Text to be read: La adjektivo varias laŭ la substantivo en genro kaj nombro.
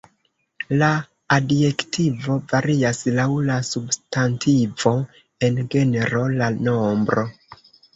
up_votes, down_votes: 1, 2